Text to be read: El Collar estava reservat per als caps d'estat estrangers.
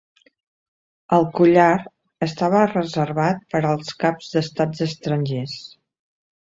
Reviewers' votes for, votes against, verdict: 0, 2, rejected